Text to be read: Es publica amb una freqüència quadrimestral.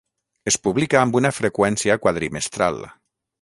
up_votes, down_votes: 3, 3